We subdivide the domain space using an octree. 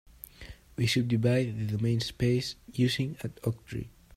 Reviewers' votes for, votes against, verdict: 2, 0, accepted